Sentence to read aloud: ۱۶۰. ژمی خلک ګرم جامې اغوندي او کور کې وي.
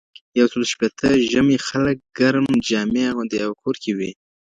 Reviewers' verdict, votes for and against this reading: rejected, 0, 2